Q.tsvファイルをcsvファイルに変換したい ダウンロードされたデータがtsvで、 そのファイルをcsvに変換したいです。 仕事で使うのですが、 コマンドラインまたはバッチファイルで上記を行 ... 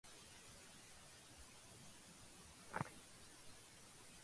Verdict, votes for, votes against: rejected, 0, 2